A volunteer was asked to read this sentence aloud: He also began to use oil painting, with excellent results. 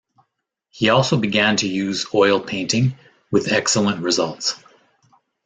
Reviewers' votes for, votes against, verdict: 2, 0, accepted